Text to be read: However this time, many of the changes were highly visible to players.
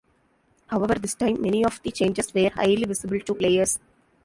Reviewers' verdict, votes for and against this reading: rejected, 1, 2